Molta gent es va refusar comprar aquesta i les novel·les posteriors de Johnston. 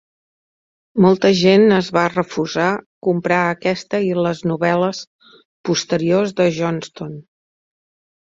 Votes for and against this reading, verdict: 3, 0, accepted